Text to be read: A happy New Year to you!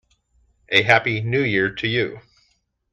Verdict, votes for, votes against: accepted, 2, 0